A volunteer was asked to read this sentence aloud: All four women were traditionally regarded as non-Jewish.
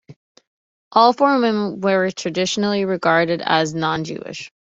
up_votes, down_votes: 2, 1